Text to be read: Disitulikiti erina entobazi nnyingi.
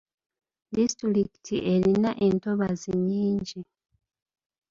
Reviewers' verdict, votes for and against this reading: accepted, 2, 0